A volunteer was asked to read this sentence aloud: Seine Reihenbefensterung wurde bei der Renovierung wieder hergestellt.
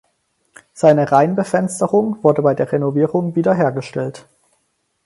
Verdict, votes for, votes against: accepted, 4, 0